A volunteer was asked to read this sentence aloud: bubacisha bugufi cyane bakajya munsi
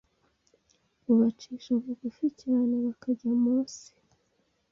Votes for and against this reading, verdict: 1, 2, rejected